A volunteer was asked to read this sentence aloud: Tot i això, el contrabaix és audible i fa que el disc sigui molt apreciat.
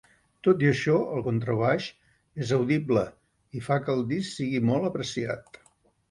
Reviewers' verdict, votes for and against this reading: accepted, 3, 0